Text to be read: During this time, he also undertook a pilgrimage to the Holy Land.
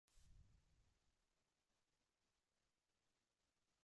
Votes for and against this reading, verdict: 0, 2, rejected